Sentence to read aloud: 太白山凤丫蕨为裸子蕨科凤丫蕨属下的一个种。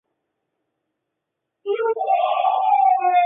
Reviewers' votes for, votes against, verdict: 0, 2, rejected